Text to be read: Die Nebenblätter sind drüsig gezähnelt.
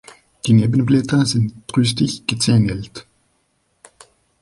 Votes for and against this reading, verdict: 0, 2, rejected